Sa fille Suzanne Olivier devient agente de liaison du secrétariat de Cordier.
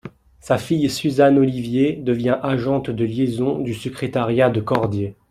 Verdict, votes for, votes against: accepted, 2, 0